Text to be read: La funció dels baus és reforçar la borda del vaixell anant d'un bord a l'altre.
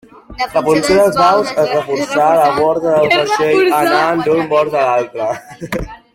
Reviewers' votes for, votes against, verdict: 0, 2, rejected